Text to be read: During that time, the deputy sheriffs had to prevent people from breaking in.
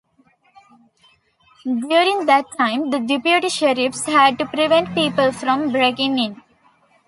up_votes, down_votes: 3, 0